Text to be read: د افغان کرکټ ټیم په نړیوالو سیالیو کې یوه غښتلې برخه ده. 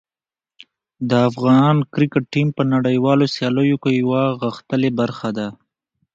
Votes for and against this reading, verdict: 2, 1, accepted